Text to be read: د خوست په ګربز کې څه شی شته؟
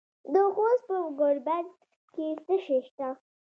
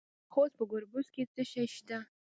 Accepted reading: first